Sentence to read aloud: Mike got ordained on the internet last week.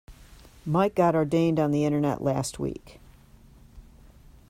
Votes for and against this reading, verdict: 2, 0, accepted